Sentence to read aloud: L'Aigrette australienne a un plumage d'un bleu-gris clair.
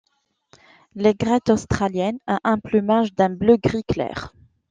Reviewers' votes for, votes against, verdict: 2, 0, accepted